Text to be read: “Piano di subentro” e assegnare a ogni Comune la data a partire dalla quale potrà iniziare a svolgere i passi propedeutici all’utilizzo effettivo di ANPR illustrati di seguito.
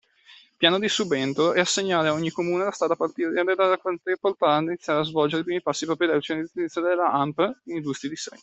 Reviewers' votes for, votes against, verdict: 0, 2, rejected